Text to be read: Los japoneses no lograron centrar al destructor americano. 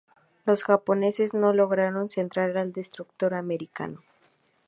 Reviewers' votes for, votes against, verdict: 2, 0, accepted